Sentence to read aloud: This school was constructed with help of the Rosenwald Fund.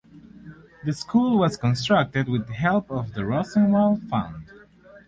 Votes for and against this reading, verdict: 4, 0, accepted